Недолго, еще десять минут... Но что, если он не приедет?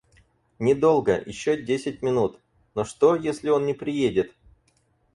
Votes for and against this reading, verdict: 4, 0, accepted